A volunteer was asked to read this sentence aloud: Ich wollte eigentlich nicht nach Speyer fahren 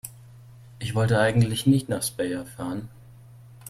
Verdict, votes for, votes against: rejected, 0, 2